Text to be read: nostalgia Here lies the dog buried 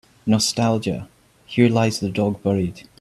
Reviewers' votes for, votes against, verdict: 3, 0, accepted